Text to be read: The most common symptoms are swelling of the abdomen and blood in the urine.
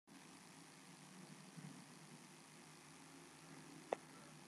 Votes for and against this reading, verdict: 0, 2, rejected